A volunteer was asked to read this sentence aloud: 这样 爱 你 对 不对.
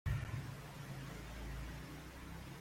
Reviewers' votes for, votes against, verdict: 0, 2, rejected